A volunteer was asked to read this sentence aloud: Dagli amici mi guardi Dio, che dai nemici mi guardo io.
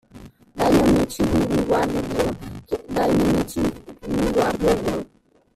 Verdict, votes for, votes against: rejected, 1, 2